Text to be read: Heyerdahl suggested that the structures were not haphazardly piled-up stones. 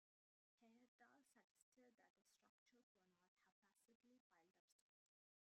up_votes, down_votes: 0, 2